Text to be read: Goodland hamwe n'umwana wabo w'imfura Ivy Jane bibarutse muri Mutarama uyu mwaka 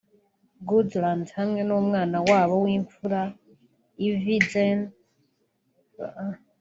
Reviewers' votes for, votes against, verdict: 1, 2, rejected